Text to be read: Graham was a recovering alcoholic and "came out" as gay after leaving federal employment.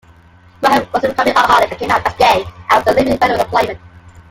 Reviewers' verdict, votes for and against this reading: rejected, 0, 2